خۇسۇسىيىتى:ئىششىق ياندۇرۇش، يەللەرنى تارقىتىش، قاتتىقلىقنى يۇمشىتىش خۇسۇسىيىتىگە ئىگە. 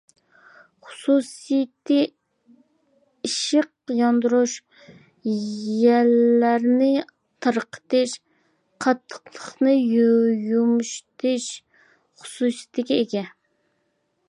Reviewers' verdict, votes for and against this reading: rejected, 0, 2